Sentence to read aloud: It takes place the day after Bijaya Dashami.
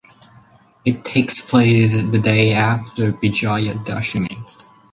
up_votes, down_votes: 2, 2